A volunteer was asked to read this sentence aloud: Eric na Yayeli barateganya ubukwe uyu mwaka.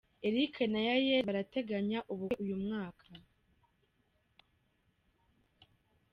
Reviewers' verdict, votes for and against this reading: rejected, 2, 3